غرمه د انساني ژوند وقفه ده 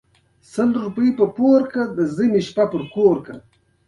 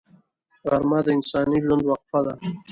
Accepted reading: first